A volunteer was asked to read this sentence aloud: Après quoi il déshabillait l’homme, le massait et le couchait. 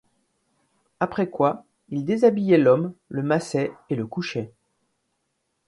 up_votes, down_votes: 2, 0